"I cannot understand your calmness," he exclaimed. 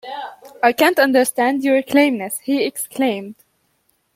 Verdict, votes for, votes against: rejected, 0, 2